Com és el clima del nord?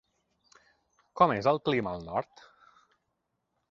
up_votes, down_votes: 0, 3